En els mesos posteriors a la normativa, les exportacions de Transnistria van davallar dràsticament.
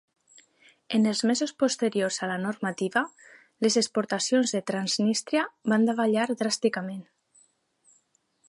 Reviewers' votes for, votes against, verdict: 4, 0, accepted